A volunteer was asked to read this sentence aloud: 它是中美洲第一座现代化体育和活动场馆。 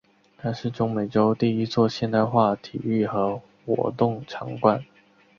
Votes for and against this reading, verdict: 3, 0, accepted